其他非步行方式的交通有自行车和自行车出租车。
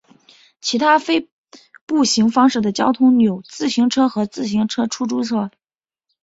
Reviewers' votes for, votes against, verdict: 2, 0, accepted